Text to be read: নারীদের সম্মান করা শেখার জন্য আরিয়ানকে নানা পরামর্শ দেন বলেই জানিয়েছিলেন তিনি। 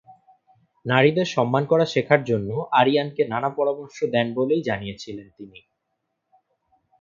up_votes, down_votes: 2, 0